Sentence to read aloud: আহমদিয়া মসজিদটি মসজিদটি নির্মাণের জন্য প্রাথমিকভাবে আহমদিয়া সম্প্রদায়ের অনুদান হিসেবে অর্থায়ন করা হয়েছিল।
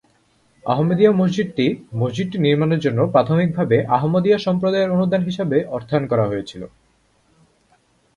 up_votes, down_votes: 2, 0